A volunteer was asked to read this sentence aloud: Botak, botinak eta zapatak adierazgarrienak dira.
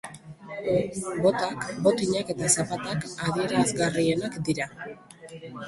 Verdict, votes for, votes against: rejected, 1, 2